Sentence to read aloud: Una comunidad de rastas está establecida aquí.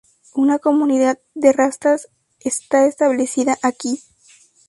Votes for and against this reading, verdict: 2, 0, accepted